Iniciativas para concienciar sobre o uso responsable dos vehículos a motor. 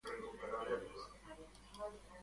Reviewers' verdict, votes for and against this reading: rejected, 0, 2